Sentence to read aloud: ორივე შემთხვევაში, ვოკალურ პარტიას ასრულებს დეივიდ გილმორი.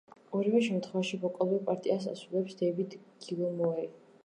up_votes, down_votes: 2, 2